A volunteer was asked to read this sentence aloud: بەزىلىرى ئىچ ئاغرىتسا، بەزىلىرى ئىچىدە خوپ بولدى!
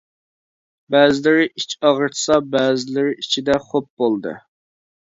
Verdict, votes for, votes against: accepted, 2, 0